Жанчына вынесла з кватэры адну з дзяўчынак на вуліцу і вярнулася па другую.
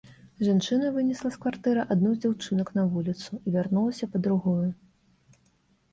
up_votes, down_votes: 0, 2